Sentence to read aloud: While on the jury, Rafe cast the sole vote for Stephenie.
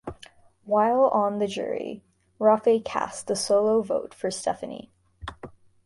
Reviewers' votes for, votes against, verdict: 2, 0, accepted